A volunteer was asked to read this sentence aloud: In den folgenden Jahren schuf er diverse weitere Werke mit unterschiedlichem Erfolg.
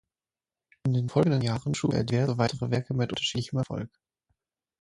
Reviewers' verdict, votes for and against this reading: rejected, 0, 6